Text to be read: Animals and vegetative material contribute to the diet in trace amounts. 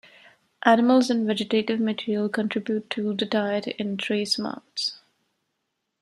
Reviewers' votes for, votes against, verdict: 1, 2, rejected